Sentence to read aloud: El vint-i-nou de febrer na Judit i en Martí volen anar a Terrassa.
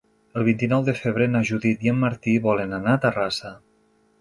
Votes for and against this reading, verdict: 4, 0, accepted